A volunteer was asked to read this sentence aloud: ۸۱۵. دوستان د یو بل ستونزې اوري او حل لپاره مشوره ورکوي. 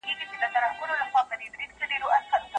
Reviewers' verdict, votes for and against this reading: rejected, 0, 2